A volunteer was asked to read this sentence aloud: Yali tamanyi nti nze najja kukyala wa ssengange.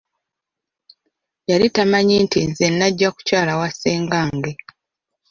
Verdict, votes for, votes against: accepted, 2, 0